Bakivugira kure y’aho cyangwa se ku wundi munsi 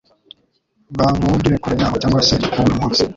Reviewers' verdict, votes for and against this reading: rejected, 2, 3